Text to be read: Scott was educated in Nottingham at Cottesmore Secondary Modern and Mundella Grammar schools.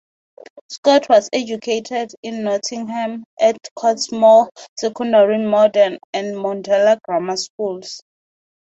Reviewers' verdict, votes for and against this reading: accepted, 4, 0